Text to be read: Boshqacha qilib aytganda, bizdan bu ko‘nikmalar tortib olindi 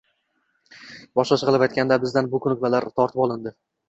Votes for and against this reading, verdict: 2, 0, accepted